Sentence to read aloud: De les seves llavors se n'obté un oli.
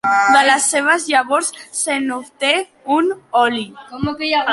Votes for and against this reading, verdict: 0, 2, rejected